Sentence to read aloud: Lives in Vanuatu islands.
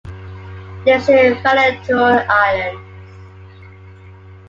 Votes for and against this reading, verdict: 2, 1, accepted